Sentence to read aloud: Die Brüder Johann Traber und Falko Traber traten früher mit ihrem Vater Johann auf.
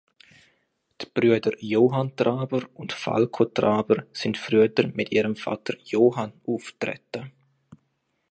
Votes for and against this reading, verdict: 0, 2, rejected